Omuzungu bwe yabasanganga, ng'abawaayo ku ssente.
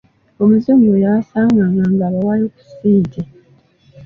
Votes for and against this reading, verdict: 0, 2, rejected